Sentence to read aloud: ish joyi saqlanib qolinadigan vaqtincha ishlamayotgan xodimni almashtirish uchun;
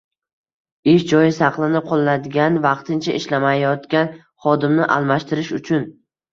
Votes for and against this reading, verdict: 2, 1, accepted